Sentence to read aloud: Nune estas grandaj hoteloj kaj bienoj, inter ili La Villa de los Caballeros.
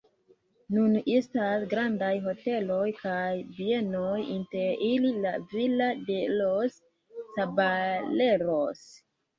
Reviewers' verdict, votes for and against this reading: rejected, 0, 2